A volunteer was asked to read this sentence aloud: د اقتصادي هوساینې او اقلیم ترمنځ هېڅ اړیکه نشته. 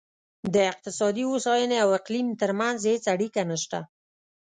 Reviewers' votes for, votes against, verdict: 2, 0, accepted